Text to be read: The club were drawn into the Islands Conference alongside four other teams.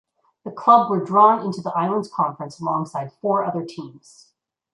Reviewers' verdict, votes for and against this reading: accepted, 2, 0